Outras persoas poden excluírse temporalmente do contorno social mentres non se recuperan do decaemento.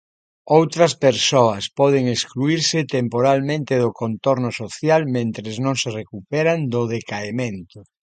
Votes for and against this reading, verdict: 2, 0, accepted